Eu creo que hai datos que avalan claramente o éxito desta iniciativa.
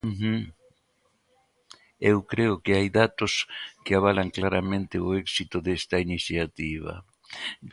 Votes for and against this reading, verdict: 2, 1, accepted